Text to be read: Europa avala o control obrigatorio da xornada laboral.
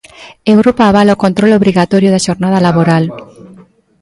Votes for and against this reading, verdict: 1, 2, rejected